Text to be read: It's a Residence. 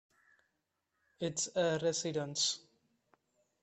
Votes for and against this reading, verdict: 2, 0, accepted